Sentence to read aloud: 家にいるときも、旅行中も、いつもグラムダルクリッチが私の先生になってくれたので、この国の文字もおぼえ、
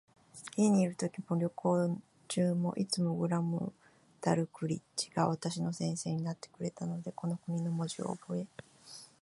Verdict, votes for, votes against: rejected, 1, 2